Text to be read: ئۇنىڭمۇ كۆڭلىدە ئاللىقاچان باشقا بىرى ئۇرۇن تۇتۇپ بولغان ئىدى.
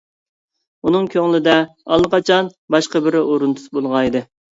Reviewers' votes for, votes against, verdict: 0, 2, rejected